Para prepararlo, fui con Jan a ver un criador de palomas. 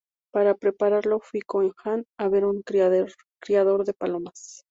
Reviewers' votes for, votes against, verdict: 0, 2, rejected